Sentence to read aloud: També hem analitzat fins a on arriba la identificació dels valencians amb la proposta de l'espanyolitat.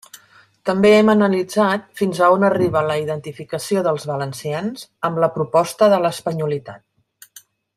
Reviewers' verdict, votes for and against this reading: accepted, 3, 0